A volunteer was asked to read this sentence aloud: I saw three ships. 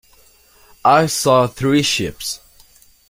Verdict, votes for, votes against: accepted, 2, 0